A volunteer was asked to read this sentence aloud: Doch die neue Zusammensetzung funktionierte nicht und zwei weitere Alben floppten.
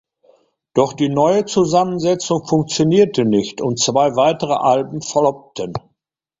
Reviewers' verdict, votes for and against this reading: accepted, 2, 0